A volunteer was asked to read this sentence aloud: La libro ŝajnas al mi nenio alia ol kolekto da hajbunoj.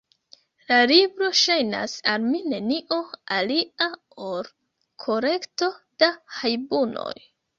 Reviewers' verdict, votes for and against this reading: rejected, 2, 3